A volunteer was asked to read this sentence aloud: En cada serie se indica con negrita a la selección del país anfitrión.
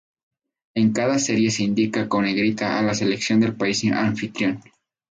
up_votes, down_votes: 0, 2